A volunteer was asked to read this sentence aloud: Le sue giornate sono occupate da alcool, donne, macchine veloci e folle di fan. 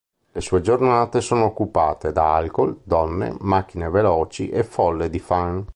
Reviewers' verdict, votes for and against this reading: accepted, 2, 0